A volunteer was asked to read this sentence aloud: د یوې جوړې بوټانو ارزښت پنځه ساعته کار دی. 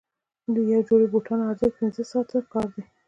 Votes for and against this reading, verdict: 2, 0, accepted